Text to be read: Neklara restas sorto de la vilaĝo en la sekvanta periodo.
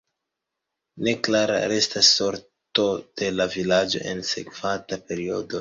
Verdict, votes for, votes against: accepted, 2, 1